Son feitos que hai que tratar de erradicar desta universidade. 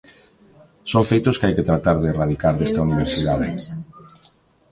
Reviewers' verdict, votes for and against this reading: rejected, 0, 2